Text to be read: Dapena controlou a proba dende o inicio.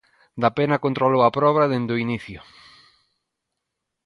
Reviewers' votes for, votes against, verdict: 2, 0, accepted